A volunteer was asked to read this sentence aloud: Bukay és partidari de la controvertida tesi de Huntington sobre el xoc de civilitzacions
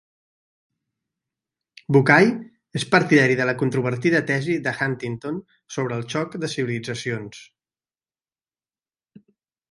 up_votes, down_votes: 3, 0